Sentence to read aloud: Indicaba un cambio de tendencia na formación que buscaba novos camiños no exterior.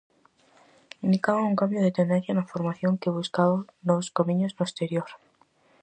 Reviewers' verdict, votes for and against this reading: accepted, 4, 0